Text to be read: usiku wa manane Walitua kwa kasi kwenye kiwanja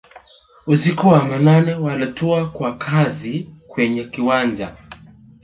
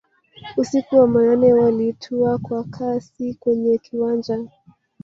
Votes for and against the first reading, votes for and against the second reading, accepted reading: 3, 2, 0, 2, first